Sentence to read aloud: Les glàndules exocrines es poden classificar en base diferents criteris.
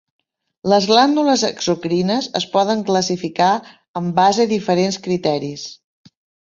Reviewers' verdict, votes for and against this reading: accepted, 3, 0